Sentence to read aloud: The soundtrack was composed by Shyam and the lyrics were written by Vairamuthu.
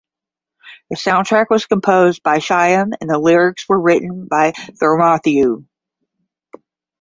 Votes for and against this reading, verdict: 5, 5, rejected